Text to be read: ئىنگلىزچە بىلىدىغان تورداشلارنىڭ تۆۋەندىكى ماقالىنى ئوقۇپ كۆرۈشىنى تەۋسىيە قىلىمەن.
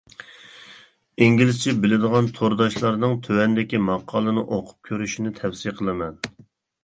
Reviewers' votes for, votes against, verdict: 2, 0, accepted